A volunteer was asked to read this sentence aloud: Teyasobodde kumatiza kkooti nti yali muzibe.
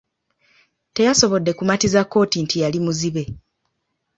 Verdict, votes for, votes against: accepted, 2, 0